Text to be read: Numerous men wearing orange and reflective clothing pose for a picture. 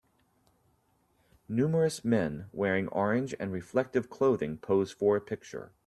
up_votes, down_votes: 2, 0